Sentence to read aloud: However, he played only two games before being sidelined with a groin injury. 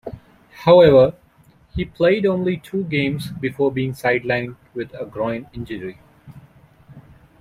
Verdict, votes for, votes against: accepted, 2, 0